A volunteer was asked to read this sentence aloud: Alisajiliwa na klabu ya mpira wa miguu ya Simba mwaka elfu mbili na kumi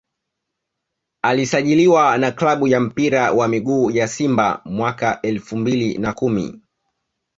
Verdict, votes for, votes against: accepted, 2, 0